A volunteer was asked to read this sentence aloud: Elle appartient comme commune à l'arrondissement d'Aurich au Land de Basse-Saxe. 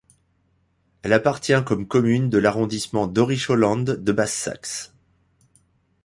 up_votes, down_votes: 0, 2